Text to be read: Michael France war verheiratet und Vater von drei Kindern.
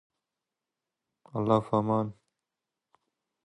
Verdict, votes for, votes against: rejected, 0, 2